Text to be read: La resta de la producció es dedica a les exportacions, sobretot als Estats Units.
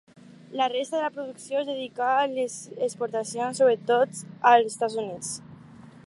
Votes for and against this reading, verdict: 4, 0, accepted